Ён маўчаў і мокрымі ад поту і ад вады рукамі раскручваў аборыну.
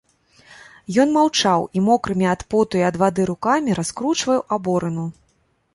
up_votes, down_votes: 1, 2